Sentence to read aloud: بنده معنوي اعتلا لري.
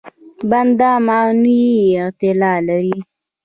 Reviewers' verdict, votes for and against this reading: rejected, 0, 2